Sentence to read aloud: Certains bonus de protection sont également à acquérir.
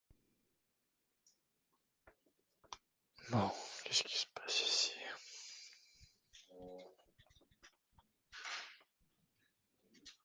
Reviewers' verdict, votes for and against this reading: rejected, 0, 2